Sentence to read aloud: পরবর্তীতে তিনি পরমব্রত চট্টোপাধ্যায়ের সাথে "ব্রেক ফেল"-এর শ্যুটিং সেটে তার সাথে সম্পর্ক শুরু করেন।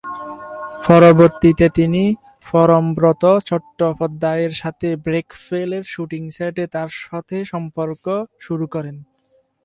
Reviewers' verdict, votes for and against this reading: accepted, 4, 2